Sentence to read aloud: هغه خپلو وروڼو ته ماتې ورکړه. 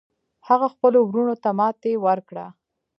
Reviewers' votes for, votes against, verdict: 0, 2, rejected